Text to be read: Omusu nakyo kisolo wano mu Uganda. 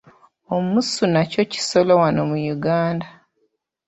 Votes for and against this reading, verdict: 0, 2, rejected